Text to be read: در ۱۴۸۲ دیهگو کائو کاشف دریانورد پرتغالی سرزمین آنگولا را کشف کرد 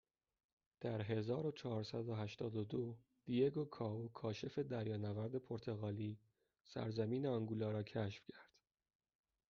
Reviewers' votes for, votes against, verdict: 0, 2, rejected